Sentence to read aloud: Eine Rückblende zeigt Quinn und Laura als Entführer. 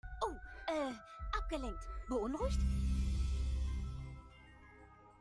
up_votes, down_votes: 1, 2